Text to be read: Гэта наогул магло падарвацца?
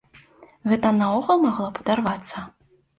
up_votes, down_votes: 1, 2